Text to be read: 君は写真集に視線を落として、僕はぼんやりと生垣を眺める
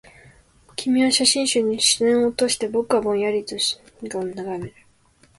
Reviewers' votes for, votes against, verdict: 0, 2, rejected